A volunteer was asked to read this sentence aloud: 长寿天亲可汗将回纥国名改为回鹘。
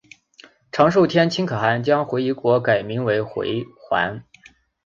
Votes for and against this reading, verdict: 0, 3, rejected